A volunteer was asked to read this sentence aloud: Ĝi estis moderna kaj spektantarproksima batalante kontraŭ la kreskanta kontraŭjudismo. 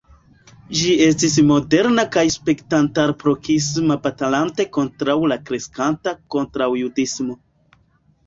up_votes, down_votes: 2, 0